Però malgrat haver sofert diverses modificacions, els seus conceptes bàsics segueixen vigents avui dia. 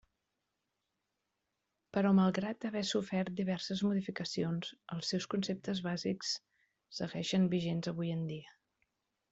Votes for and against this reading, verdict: 1, 2, rejected